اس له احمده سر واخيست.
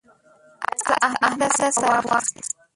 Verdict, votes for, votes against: rejected, 0, 2